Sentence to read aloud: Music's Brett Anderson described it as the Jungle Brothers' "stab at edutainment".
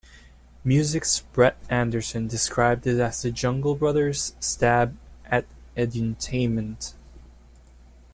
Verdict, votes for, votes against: rejected, 0, 2